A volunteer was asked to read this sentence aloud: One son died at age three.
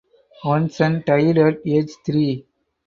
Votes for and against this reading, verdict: 2, 2, rejected